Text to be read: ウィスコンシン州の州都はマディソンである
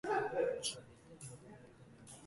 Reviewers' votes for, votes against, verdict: 0, 2, rejected